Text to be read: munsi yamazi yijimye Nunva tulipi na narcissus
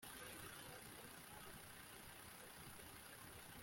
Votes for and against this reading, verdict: 0, 2, rejected